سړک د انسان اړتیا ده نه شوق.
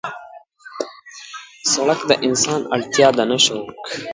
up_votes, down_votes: 1, 2